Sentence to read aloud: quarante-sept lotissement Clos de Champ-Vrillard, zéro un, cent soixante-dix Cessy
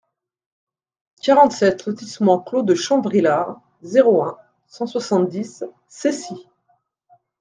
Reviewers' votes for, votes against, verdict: 1, 2, rejected